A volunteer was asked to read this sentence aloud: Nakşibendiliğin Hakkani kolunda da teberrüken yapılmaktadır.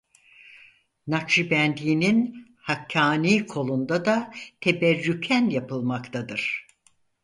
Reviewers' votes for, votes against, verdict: 0, 4, rejected